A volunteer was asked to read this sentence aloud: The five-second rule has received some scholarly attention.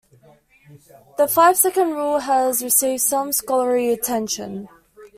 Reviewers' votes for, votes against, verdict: 2, 1, accepted